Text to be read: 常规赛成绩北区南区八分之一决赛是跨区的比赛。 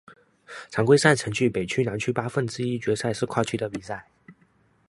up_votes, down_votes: 2, 0